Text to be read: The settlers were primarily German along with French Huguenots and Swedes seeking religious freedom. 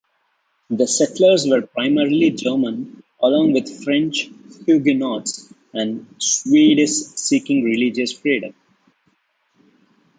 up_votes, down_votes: 0, 2